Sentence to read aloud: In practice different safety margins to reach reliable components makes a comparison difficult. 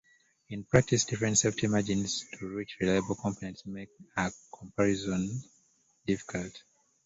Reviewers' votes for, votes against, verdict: 0, 2, rejected